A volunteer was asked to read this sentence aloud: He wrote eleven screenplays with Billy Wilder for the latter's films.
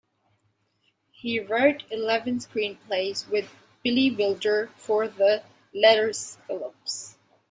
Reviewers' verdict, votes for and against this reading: rejected, 0, 2